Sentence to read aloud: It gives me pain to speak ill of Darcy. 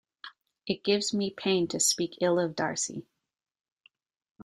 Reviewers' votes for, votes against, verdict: 2, 0, accepted